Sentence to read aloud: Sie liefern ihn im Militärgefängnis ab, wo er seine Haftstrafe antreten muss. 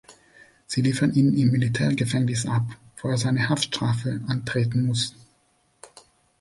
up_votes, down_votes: 2, 0